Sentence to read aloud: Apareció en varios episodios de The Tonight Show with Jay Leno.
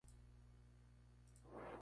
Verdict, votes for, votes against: rejected, 0, 2